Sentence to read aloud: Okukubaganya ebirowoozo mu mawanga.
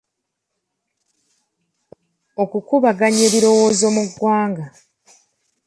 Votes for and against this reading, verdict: 2, 1, accepted